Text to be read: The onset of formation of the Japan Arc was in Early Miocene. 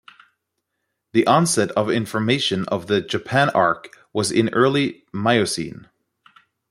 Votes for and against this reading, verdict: 2, 0, accepted